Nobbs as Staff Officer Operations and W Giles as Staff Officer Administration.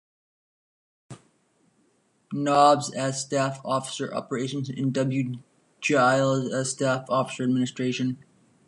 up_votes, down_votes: 1, 2